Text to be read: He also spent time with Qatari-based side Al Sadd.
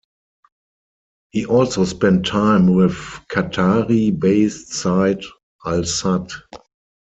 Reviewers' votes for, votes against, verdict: 2, 4, rejected